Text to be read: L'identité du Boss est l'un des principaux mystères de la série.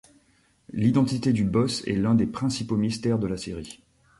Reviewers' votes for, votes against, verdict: 2, 0, accepted